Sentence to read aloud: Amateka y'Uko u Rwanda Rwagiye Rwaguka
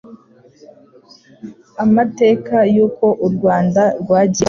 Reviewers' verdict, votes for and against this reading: rejected, 0, 3